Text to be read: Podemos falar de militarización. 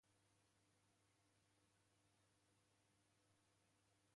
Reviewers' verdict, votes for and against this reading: rejected, 0, 2